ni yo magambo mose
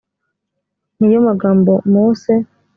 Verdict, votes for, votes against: accepted, 2, 0